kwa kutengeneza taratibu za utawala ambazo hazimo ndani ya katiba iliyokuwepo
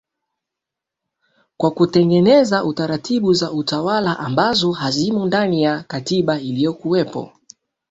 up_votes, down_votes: 2, 1